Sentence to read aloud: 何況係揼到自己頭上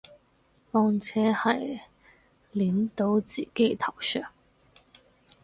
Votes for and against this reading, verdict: 0, 4, rejected